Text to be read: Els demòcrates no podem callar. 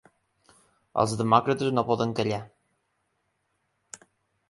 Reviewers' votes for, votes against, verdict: 1, 2, rejected